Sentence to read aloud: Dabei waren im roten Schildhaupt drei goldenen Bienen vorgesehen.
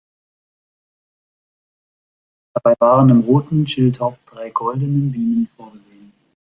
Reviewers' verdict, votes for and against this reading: rejected, 0, 2